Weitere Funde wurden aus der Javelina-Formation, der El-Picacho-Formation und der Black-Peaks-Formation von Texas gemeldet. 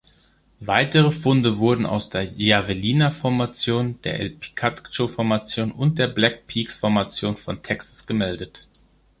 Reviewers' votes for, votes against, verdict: 1, 2, rejected